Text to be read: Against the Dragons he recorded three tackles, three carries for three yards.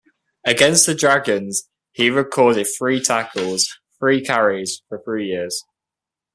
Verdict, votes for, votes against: rejected, 1, 2